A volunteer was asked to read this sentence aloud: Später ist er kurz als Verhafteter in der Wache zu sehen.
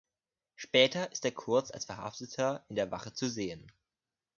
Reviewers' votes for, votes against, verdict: 2, 0, accepted